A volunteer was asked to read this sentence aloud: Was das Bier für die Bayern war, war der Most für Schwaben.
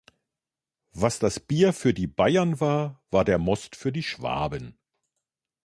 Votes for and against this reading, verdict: 0, 2, rejected